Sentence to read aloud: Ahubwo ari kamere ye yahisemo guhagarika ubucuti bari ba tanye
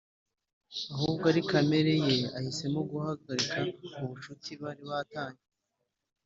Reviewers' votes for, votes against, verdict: 2, 0, accepted